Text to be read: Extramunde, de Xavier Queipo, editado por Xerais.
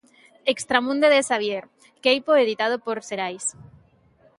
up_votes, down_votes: 2, 0